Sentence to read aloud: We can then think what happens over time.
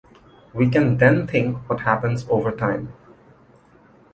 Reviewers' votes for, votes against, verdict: 2, 0, accepted